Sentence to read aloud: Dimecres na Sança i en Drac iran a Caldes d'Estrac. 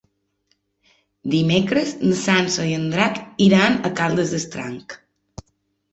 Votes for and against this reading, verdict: 1, 2, rejected